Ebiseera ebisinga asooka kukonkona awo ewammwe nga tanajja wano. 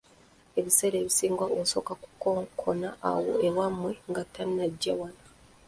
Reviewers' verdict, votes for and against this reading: rejected, 1, 2